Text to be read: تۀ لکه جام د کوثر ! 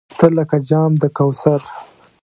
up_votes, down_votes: 2, 0